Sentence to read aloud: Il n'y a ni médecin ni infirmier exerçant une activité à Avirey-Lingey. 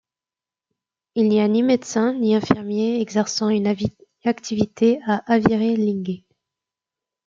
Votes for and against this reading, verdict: 0, 2, rejected